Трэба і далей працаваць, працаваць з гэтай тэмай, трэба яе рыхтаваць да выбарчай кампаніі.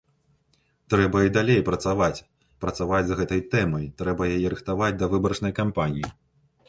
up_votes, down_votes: 1, 2